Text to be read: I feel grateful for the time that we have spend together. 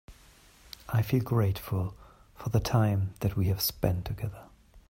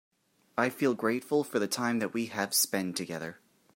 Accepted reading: second